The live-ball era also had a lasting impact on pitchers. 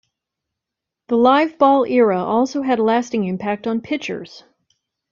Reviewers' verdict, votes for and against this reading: accepted, 2, 1